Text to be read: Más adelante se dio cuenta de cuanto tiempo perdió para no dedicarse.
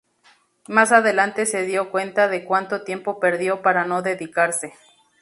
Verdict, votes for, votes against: accepted, 4, 0